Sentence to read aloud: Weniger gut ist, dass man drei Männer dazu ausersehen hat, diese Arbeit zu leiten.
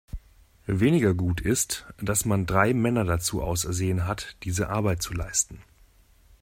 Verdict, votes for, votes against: rejected, 0, 2